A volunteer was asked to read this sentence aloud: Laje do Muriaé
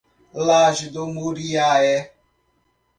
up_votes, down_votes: 0, 3